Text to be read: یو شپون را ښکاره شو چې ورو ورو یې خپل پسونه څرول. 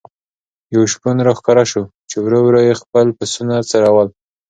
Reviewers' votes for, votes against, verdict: 2, 0, accepted